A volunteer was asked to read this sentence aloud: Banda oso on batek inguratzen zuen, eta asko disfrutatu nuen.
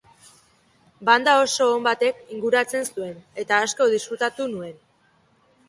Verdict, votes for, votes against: accepted, 2, 0